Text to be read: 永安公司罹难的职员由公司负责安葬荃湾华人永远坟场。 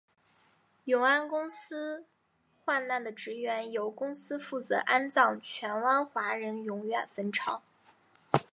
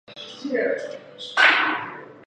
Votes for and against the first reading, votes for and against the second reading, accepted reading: 2, 1, 1, 2, first